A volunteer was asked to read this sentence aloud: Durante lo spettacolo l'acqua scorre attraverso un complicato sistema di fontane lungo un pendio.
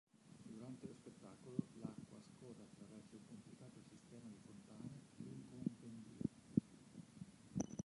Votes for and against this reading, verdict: 0, 2, rejected